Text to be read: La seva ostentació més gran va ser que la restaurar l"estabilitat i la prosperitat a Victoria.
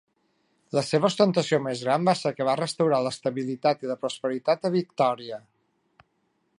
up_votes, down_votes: 1, 2